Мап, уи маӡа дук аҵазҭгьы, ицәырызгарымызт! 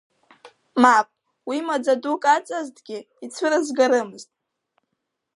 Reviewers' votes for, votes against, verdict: 4, 1, accepted